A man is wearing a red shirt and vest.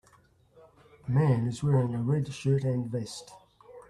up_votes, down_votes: 1, 2